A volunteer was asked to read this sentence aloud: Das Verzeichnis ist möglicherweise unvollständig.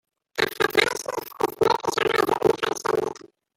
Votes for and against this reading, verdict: 1, 2, rejected